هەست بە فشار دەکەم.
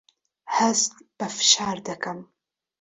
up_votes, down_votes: 2, 0